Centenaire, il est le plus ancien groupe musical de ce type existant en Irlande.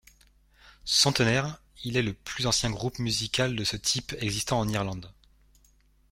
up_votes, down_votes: 3, 0